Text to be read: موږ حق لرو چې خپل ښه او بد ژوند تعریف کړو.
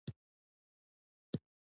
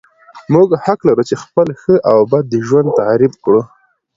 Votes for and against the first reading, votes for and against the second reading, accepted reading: 1, 2, 2, 0, second